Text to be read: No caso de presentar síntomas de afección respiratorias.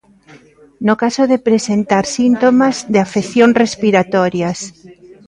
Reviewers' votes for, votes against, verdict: 3, 0, accepted